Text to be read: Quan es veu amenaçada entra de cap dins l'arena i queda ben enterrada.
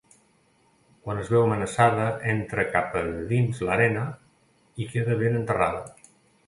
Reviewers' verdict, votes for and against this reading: rejected, 0, 2